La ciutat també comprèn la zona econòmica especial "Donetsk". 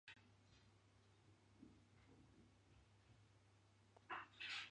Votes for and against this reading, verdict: 0, 3, rejected